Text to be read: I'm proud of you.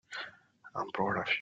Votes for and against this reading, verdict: 0, 3, rejected